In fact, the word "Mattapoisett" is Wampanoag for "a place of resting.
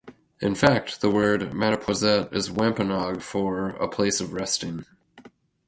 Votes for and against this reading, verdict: 2, 2, rejected